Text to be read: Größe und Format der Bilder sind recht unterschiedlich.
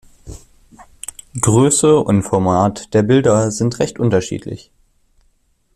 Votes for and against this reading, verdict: 2, 0, accepted